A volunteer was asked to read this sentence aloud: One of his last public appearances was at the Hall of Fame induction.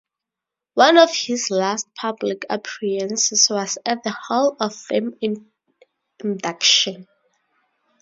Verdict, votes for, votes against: rejected, 0, 2